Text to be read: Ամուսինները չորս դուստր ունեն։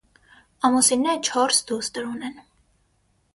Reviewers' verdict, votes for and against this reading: accepted, 6, 0